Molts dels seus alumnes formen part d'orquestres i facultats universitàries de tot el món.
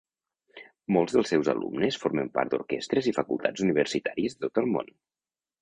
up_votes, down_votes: 2, 0